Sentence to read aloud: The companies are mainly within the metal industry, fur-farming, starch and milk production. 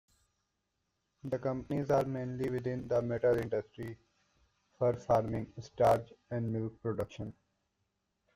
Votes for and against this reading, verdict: 0, 2, rejected